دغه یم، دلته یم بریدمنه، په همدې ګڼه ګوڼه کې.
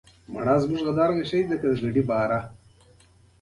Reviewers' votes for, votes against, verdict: 2, 0, accepted